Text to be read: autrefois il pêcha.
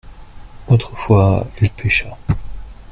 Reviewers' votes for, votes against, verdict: 1, 2, rejected